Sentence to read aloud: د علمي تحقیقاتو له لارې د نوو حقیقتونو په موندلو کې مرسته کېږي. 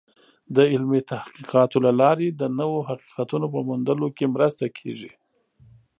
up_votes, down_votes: 2, 0